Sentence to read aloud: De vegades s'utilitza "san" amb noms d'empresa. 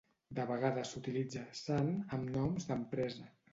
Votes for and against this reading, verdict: 2, 0, accepted